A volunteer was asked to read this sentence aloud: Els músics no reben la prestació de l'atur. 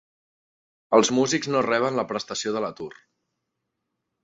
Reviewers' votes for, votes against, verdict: 2, 0, accepted